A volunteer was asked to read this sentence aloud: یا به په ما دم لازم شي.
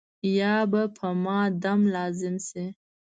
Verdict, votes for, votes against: accepted, 2, 0